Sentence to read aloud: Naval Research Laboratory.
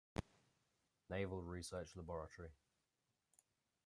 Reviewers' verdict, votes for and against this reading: rejected, 1, 2